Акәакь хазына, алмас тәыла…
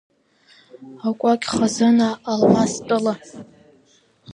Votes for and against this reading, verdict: 2, 1, accepted